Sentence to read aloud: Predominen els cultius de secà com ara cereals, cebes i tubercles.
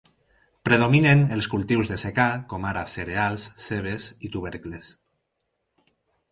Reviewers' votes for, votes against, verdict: 4, 0, accepted